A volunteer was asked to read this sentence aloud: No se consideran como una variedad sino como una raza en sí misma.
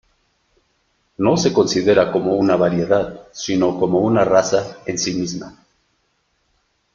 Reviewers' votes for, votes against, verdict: 1, 2, rejected